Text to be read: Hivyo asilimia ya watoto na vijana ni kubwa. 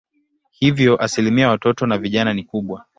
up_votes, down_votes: 8, 1